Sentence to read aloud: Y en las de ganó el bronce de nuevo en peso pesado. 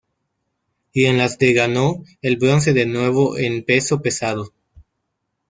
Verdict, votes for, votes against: rejected, 0, 2